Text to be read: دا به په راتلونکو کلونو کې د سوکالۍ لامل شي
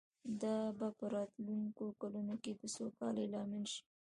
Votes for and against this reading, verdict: 1, 2, rejected